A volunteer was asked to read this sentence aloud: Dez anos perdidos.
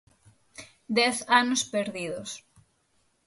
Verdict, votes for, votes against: accepted, 6, 0